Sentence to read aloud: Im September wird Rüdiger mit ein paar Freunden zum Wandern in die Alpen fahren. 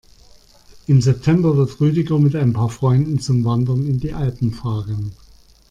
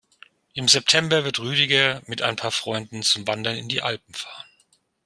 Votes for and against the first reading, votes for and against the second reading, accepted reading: 2, 0, 0, 2, first